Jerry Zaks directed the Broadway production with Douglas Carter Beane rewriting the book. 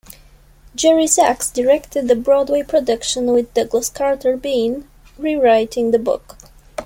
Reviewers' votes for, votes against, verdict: 2, 1, accepted